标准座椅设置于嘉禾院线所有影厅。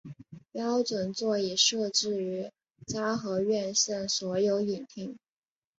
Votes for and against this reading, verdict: 3, 0, accepted